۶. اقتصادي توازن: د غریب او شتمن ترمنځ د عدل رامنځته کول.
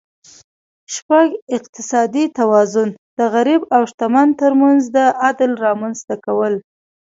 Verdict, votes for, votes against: rejected, 0, 2